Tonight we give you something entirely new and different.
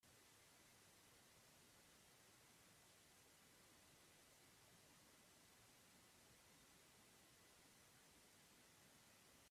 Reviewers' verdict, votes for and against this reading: rejected, 0, 2